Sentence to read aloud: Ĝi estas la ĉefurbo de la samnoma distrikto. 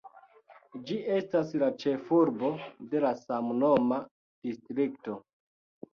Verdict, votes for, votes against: accepted, 2, 0